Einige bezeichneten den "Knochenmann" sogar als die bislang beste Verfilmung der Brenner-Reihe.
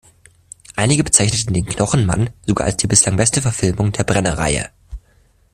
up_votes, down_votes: 2, 0